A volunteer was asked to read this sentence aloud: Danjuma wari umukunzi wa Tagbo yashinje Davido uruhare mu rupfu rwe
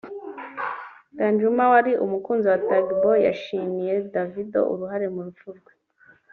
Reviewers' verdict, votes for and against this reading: rejected, 0, 2